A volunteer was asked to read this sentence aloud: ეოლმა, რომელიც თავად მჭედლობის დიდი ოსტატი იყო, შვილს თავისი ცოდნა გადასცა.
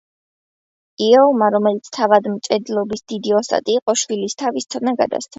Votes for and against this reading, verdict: 0, 2, rejected